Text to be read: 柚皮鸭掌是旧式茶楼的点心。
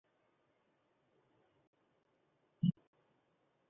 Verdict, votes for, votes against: rejected, 3, 4